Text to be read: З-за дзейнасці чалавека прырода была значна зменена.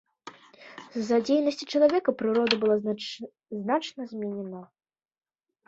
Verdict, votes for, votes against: rejected, 0, 2